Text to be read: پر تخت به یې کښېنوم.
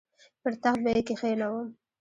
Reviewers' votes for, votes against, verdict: 1, 2, rejected